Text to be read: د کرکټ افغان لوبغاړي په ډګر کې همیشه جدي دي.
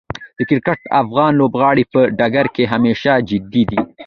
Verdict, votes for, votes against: accepted, 2, 1